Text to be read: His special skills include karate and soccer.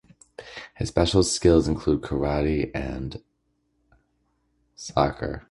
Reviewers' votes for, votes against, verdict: 1, 2, rejected